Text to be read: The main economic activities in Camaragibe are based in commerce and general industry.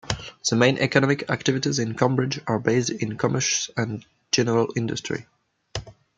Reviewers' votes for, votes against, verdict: 1, 2, rejected